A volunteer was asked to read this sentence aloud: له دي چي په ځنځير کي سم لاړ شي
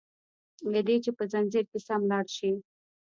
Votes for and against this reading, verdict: 0, 2, rejected